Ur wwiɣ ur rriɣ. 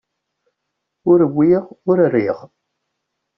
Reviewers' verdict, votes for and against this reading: accepted, 2, 0